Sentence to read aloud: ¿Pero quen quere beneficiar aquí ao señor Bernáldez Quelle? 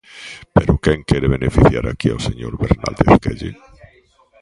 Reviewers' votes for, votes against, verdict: 0, 2, rejected